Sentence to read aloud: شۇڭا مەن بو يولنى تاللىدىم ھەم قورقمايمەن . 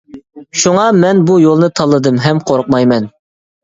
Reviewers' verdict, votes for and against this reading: accepted, 2, 0